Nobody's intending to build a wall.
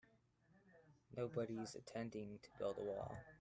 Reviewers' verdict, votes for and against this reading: rejected, 1, 2